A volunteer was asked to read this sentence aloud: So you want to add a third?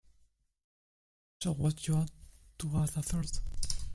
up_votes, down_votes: 0, 2